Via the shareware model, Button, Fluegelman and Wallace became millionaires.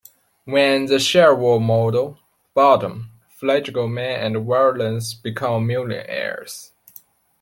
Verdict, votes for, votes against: rejected, 0, 3